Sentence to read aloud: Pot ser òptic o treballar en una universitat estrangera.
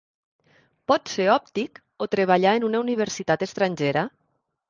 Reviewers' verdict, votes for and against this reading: accepted, 3, 0